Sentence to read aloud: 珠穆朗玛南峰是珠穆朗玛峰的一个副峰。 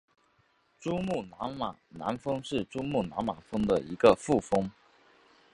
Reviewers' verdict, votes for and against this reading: accepted, 4, 0